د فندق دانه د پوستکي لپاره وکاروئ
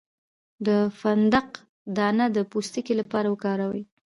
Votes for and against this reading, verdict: 1, 2, rejected